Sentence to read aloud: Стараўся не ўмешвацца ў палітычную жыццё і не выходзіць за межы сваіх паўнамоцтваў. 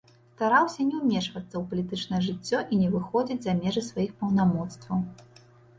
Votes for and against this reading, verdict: 0, 2, rejected